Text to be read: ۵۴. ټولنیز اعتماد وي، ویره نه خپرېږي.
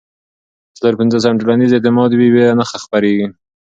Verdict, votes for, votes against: rejected, 0, 2